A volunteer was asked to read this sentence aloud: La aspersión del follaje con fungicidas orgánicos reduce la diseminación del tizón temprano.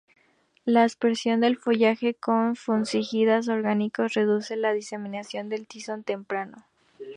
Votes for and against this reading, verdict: 2, 0, accepted